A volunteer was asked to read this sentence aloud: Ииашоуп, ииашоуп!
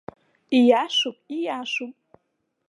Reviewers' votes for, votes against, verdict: 2, 0, accepted